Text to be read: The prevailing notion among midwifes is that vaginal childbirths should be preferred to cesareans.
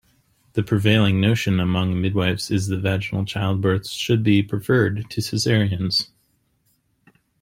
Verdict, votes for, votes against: accepted, 2, 0